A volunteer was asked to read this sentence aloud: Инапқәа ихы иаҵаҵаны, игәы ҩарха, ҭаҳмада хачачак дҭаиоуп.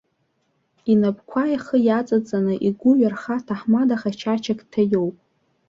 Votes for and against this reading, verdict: 2, 0, accepted